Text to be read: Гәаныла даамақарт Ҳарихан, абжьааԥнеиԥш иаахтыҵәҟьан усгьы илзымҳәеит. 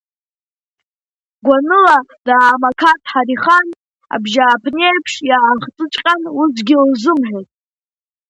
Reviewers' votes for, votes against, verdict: 2, 0, accepted